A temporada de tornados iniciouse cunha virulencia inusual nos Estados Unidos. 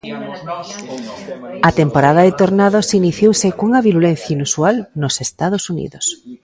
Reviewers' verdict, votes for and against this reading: accepted, 2, 1